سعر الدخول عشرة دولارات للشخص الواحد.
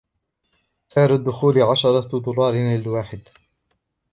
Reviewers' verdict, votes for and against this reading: accepted, 2, 0